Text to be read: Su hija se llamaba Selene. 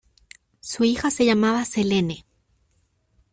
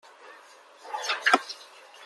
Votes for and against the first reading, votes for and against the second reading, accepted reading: 2, 0, 0, 2, first